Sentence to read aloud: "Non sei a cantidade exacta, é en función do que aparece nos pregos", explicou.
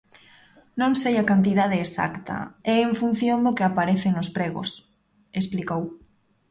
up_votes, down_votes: 2, 0